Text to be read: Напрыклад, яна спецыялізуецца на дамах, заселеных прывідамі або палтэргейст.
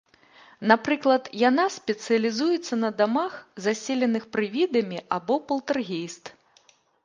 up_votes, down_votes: 2, 0